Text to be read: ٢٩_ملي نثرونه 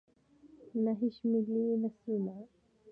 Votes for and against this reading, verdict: 0, 2, rejected